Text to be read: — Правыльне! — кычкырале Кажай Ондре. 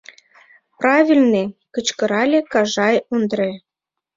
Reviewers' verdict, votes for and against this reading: accepted, 2, 0